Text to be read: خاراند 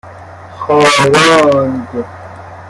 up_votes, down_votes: 0, 2